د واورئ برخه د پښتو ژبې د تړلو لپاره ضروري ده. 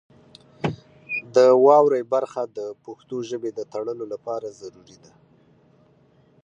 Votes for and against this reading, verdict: 2, 0, accepted